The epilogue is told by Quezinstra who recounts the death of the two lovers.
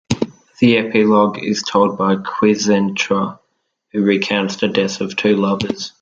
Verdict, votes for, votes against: rejected, 0, 2